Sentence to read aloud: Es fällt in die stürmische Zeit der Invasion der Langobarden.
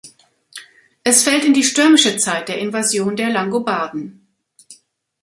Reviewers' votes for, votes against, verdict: 2, 0, accepted